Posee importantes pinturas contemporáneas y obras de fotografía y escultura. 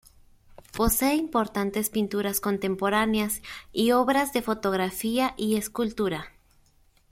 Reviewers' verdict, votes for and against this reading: accepted, 2, 0